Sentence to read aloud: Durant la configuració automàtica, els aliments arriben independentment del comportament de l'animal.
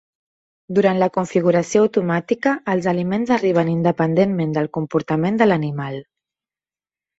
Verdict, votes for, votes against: accepted, 3, 0